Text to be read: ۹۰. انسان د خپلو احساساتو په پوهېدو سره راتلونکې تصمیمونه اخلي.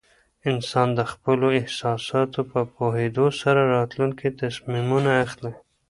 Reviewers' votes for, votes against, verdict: 0, 2, rejected